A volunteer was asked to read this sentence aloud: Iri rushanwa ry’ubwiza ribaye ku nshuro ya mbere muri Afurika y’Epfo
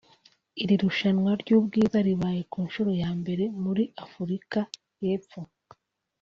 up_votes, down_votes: 2, 0